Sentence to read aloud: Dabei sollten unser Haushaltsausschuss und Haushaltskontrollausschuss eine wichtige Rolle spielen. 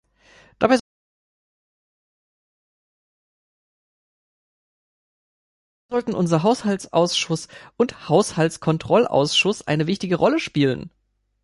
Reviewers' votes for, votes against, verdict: 2, 3, rejected